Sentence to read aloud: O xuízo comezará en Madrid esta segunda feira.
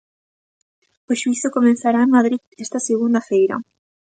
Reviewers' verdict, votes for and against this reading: rejected, 1, 2